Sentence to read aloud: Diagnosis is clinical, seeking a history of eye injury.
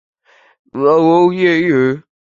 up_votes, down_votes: 0, 2